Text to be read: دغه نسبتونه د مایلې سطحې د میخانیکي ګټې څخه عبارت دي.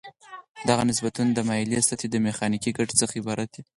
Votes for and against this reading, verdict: 2, 4, rejected